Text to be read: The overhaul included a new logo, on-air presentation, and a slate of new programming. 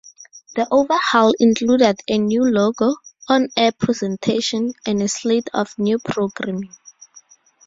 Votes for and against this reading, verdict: 4, 0, accepted